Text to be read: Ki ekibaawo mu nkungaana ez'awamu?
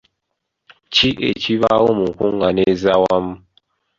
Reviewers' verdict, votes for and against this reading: accepted, 2, 1